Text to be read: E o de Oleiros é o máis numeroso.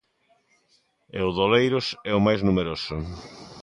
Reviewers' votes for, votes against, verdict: 2, 0, accepted